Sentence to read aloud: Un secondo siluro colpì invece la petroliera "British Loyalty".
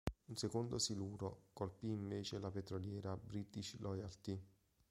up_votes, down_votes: 2, 0